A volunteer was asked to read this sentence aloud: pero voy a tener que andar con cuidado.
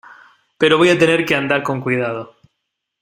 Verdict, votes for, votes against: accepted, 2, 0